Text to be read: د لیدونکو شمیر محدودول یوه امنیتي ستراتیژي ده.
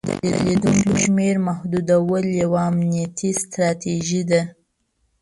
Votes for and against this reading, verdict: 1, 2, rejected